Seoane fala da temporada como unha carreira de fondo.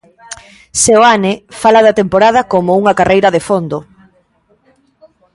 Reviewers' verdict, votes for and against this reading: accepted, 2, 0